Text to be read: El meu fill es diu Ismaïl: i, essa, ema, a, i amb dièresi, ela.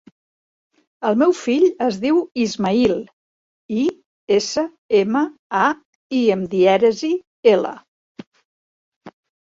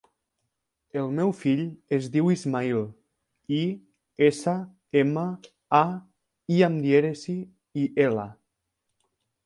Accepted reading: first